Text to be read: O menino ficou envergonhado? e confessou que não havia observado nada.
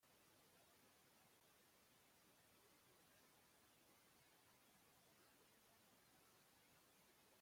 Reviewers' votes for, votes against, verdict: 0, 2, rejected